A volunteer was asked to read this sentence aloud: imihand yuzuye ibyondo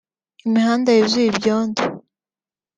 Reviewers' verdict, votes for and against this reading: rejected, 0, 2